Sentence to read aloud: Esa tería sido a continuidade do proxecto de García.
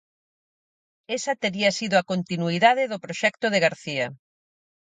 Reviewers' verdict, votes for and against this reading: accepted, 4, 0